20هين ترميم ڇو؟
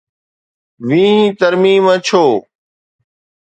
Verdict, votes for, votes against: rejected, 0, 2